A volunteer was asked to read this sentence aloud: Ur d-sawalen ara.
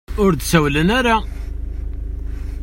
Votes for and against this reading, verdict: 1, 2, rejected